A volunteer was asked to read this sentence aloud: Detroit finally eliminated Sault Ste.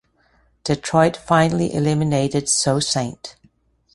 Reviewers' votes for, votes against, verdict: 2, 0, accepted